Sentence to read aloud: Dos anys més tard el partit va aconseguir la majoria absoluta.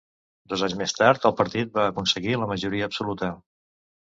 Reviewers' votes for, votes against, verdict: 2, 0, accepted